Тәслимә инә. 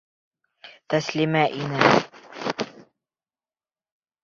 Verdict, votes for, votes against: rejected, 1, 2